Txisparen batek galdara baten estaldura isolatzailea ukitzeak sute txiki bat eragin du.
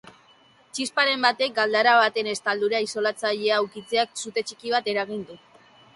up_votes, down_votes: 3, 0